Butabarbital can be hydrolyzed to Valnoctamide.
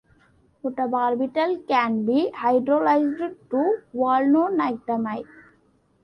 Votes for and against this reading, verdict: 2, 0, accepted